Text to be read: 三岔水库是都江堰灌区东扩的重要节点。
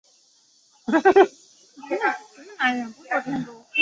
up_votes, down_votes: 0, 2